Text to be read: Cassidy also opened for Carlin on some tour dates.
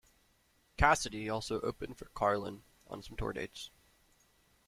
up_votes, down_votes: 0, 2